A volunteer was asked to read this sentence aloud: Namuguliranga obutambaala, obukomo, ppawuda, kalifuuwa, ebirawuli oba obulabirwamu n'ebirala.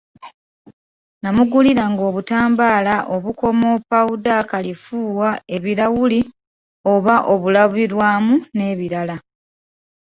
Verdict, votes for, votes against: accepted, 3, 1